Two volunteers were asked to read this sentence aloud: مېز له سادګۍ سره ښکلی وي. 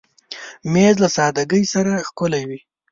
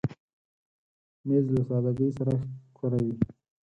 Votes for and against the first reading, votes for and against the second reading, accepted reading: 2, 0, 0, 4, first